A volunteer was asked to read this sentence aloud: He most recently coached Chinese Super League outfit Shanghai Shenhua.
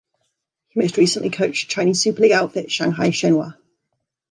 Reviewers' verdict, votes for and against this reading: rejected, 1, 2